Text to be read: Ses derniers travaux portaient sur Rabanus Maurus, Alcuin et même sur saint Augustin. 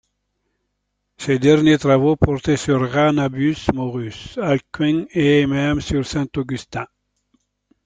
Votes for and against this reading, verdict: 0, 2, rejected